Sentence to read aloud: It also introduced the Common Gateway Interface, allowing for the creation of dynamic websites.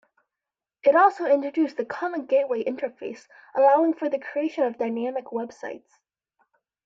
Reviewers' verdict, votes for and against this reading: accepted, 2, 0